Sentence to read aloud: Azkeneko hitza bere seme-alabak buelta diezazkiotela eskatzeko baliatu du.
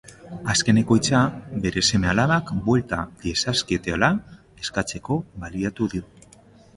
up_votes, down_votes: 0, 2